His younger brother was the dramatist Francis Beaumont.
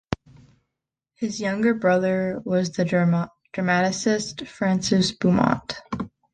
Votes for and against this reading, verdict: 0, 2, rejected